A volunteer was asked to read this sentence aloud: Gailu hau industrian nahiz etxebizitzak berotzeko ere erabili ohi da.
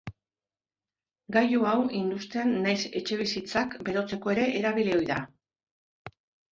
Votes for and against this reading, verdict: 2, 0, accepted